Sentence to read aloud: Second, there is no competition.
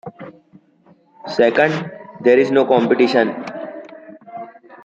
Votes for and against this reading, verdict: 2, 0, accepted